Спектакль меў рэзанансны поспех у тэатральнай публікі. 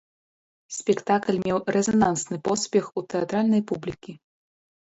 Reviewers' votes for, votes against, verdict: 0, 2, rejected